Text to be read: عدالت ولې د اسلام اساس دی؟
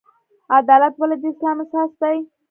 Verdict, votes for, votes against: accepted, 3, 0